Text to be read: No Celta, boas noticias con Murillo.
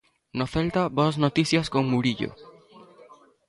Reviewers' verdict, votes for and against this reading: accepted, 2, 0